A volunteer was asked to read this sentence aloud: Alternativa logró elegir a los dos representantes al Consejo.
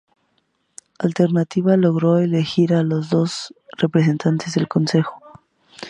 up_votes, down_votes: 0, 2